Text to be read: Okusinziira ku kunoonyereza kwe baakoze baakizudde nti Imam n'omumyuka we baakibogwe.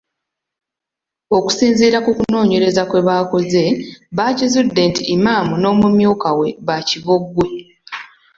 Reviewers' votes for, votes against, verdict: 2, 0, accepted